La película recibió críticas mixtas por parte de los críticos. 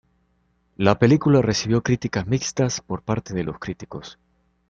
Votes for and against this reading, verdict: 2, 0, accepted